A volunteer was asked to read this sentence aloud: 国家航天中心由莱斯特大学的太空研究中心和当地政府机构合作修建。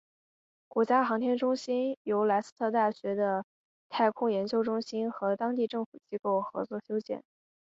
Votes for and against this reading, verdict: 3, 0, accepted